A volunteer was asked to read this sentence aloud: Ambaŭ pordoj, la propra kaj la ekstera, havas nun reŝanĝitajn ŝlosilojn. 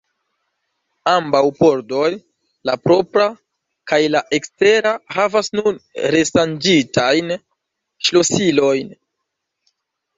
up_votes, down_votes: 1, 2